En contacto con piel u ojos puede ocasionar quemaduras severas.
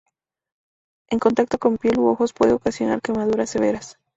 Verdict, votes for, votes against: rejected, 2, 2